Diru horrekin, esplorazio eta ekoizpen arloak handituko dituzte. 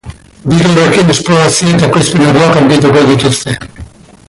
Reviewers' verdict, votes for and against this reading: rejected, 0, 2